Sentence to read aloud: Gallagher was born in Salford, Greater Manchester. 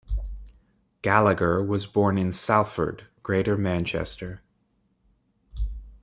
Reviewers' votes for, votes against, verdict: 2, 0, accepted